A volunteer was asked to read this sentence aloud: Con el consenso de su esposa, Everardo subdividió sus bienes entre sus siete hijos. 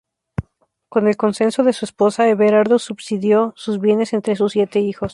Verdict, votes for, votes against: rejected, 0, 2